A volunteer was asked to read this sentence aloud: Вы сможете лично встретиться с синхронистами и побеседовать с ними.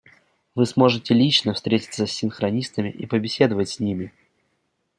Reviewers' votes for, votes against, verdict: 2, 0, accepted